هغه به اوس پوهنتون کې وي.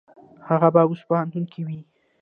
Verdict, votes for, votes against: rejected, 1, 2